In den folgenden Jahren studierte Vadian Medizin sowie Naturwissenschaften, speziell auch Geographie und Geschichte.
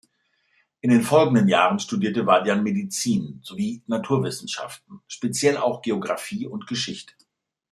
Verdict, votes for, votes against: accepted, 2, 0